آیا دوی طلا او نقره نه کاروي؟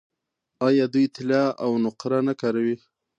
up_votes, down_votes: 2, 0